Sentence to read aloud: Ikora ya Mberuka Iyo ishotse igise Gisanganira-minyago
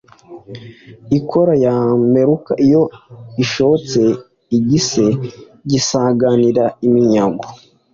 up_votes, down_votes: 2, 0